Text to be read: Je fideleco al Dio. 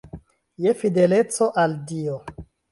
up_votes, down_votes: 2, 0